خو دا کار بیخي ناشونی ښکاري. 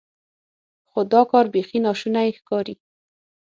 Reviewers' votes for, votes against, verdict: 6, 0, accepted